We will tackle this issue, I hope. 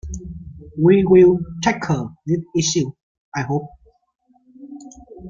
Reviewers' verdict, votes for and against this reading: rejected, 1, 2